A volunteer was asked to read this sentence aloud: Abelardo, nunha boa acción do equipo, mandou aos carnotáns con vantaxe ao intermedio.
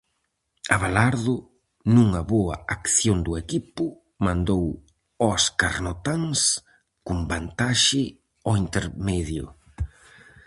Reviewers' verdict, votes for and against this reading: accepted, 4, 0